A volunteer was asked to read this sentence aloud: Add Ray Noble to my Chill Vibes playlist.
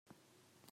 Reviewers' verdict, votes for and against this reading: rejected, 0, 2